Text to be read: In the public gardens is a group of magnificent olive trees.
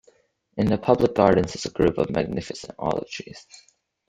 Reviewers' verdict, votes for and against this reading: accepted, 2, 0